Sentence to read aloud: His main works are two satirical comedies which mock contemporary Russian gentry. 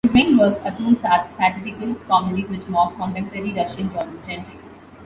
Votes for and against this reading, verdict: 1, 2, rejected